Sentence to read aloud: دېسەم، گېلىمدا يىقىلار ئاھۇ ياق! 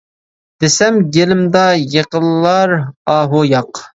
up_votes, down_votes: 2, 0